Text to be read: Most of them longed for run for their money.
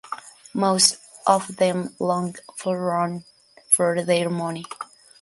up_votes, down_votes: 2, 1